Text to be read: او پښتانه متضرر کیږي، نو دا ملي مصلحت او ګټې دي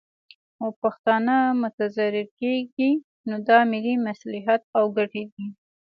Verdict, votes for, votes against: accepted, 2, 0